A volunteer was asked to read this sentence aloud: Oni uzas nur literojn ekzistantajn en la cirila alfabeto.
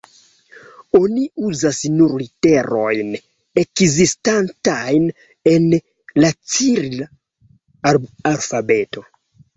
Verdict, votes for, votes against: rejected, 0, 2